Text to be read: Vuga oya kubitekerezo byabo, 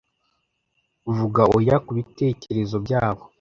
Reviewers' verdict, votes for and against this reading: accepted, 2, 0